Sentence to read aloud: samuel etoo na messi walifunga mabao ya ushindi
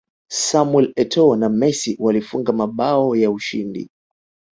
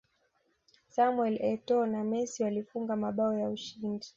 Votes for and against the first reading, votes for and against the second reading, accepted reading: 1, 2, 2, 0, second